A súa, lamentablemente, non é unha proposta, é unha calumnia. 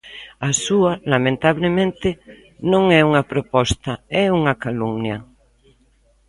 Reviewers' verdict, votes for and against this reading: accepted, 2, 1